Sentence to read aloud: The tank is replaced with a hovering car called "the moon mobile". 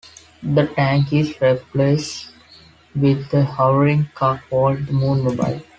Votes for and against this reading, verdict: 0, 2, rejected